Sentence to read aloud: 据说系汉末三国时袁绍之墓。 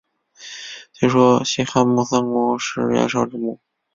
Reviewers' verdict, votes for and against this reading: rejected, 1, 2